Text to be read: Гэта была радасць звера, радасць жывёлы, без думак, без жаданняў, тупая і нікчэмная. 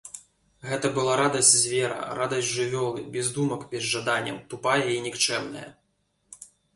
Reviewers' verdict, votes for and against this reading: rejected, 1, 2